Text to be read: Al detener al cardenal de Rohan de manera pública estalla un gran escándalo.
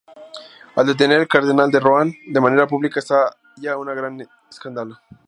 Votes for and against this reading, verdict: 4, 2, accepted